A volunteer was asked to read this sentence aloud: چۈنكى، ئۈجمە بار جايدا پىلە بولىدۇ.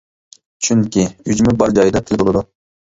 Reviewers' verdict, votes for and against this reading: rejected, 0, 2